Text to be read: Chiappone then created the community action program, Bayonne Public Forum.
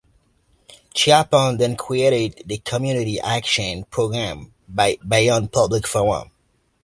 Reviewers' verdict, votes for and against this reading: rejected, 0, 2